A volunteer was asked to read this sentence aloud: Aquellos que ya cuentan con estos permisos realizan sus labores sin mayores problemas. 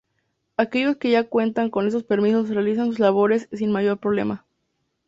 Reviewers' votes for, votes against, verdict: 0, 2, rejected